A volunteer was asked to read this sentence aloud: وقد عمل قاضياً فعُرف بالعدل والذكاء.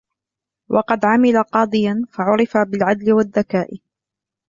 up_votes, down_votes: 2, 0